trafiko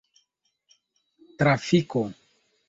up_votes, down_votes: 2, 0